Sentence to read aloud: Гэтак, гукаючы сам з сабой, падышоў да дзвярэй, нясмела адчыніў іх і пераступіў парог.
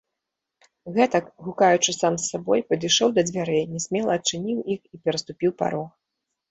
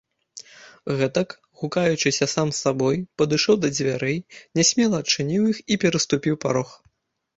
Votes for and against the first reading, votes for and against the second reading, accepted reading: 2, 0, 0, 2, first